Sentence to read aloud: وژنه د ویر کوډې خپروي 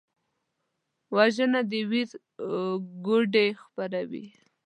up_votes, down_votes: 1, 2